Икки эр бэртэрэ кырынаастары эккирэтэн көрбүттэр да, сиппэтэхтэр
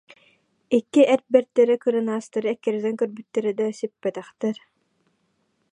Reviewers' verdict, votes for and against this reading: accepted, 2, 1